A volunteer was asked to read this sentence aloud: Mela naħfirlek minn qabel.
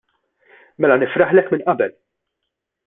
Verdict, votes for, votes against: rejected, 0, 2